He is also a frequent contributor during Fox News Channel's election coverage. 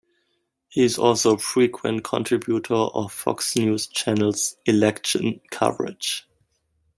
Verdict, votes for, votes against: rejected, 0, 2